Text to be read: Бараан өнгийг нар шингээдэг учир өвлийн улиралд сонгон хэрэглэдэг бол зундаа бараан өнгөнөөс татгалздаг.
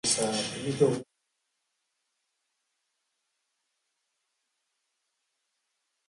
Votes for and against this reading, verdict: 0, 2, rejected